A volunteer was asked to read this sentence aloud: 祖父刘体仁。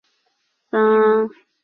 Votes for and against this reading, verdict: 0, 4, rejected